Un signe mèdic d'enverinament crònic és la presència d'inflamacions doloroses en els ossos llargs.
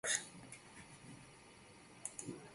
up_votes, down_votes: 0, 2